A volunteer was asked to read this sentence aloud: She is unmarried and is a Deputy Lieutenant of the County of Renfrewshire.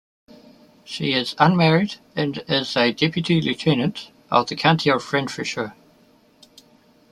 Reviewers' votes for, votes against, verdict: 2, 0, accepted